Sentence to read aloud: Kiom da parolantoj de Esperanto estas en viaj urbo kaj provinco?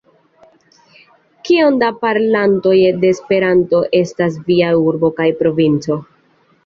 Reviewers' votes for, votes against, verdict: 0, 2, rejected